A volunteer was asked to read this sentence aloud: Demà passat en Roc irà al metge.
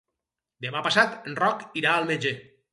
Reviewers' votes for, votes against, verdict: 0, 4, rejected